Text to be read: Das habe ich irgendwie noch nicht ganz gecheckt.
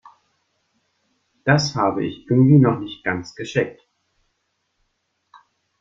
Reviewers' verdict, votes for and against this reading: rejected, 1, 2